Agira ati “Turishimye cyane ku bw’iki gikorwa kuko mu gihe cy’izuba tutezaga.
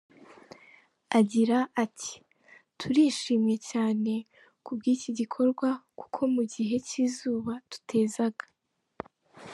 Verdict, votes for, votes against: rejected, 0, 2